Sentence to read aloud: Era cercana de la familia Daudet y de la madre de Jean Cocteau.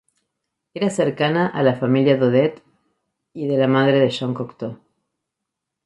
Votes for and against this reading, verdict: 0, 4, rejected